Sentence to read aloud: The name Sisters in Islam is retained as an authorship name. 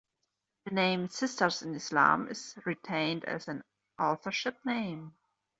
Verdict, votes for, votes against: accepted, 2, 0